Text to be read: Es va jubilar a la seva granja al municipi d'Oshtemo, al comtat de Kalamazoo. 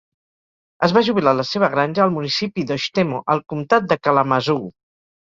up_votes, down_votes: 6, 0